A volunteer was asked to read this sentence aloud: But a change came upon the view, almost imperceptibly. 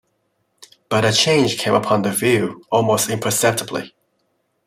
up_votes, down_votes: 2, 1